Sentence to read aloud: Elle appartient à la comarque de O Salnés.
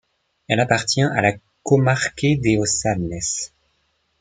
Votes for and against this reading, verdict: 1, 2, rejected